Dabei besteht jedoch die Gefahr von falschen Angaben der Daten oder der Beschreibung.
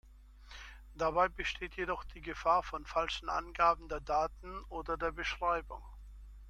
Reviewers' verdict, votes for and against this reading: accepted, 2, 0